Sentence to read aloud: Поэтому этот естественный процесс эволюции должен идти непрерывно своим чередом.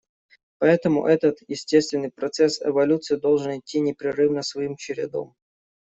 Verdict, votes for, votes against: accepted, 2, 0